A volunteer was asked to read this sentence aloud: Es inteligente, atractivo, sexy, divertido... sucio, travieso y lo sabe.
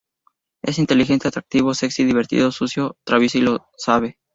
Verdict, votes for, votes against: rejected, 0, 2